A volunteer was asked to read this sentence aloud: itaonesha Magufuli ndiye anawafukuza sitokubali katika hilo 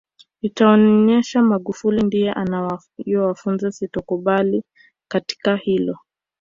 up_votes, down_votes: 0, 2